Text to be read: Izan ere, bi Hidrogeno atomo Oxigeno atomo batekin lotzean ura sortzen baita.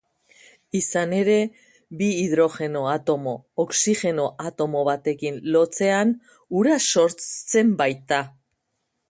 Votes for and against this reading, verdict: 2, 0, accepted